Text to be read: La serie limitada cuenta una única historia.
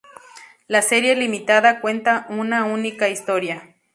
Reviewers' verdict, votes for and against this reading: accepted, 2, 0